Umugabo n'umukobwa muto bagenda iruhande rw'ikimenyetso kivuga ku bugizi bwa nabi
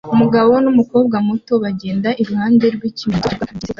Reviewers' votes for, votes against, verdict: 0, 2, rejected